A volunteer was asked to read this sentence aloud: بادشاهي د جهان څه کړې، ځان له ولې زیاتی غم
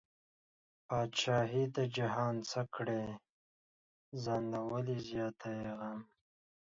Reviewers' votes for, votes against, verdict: 2, 0, accepted